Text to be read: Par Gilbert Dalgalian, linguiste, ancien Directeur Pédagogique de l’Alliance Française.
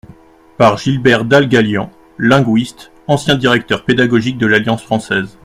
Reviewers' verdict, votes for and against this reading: accepted, 2, 0